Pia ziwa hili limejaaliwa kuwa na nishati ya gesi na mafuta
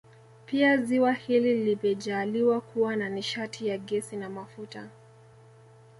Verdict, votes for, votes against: rejected, 0, 2